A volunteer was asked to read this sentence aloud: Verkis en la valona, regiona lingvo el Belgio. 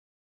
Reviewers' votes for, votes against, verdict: 1, 3, rejected